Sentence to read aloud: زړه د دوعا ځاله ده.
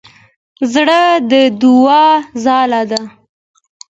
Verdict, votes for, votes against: accepted, 2, 1